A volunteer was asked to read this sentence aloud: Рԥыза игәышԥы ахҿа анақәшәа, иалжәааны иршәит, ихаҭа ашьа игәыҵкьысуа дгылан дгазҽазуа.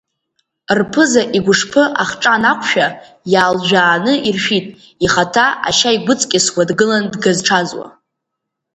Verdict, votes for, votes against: accepted, 2, 1